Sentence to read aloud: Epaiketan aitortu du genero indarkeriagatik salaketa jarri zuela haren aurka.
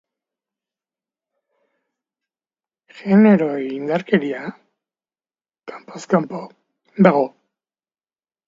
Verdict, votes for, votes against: rejected, 1, 2